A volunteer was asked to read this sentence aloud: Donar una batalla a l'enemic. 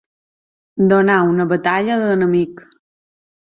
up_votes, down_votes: 2, 1